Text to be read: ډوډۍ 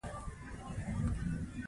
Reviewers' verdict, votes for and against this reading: rejected, 1, 2